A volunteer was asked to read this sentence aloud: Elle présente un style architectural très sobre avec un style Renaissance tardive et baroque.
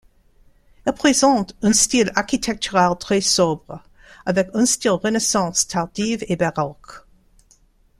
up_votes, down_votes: 1, 2